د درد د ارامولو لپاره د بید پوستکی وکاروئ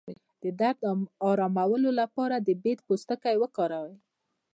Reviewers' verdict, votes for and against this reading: rejected, 1, 2